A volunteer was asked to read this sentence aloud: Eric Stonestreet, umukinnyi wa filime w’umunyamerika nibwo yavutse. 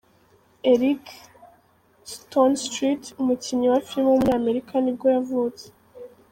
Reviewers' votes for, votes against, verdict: 3, 1, accepted